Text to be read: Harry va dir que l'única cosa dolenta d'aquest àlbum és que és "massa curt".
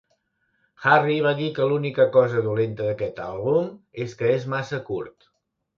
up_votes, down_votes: 3, 0